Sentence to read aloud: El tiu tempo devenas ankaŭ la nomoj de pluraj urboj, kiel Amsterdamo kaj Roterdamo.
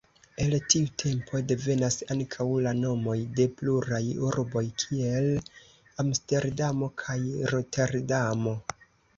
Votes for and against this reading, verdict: 2, 1, accepted